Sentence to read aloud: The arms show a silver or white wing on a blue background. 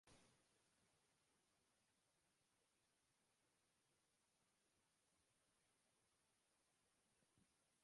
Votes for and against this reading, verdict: 0, 2, rejected